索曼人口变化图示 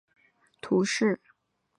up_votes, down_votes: 0, 2